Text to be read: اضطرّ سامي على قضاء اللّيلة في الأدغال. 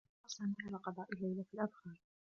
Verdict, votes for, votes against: rejected, 1, 2